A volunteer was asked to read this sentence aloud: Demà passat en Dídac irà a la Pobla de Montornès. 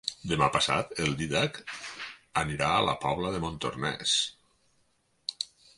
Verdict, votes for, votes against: accepted, 4, 2